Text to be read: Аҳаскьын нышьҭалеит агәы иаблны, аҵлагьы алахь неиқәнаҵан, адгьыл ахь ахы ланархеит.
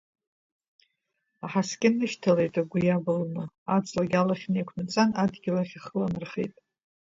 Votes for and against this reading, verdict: 1, 2, rejected